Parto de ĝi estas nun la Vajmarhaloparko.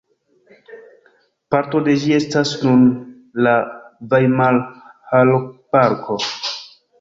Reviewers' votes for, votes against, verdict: 0, 2, rejected